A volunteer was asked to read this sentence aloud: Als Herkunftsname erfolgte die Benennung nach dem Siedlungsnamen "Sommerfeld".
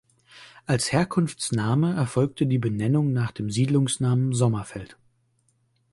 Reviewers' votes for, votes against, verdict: 2, 0, accepted